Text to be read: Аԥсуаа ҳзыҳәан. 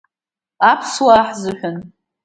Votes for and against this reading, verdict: 2, 0, accepted